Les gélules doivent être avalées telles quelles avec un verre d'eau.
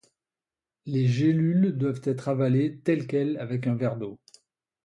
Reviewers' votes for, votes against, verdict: 2, 0, accepted